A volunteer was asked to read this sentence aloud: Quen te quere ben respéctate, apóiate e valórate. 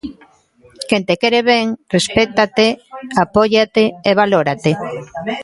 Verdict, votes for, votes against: rejected, 1, 2